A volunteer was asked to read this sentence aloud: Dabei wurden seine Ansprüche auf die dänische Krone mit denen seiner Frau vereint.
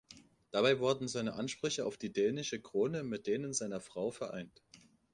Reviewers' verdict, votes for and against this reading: accepted, 2, 0